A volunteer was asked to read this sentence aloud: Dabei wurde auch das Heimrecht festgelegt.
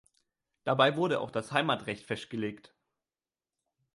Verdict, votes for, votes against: rejected, 1, 2